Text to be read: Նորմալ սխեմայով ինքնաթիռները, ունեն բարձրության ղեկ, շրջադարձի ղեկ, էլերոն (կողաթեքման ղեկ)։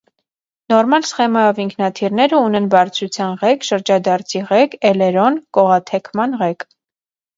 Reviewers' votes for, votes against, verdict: 2, 0, accepted